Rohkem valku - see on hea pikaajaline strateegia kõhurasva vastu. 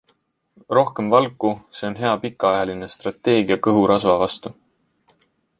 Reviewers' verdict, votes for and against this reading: accepted, 2, 0